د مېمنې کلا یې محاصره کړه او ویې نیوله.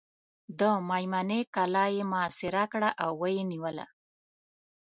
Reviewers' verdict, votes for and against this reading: accepted, 2, 0